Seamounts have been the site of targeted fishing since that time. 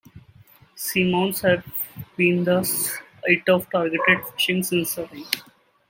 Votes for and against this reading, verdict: 0, 2, rejected